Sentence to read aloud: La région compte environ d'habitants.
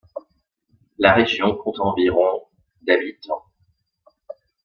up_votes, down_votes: 1, 2